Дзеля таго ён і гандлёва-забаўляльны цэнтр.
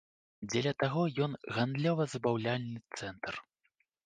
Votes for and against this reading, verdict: 0, 2, rejected